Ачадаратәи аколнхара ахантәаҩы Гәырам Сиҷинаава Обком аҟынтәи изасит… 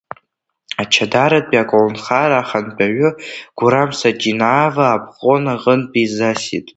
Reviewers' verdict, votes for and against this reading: accepted, 2, 1